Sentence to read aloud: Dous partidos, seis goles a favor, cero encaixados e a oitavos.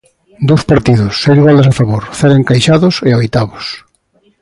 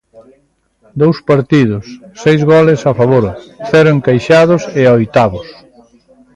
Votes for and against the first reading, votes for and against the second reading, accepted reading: 2, 0, 1, 2, first